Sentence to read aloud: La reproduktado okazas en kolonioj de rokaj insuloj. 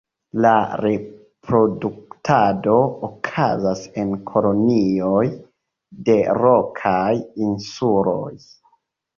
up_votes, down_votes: 2, 0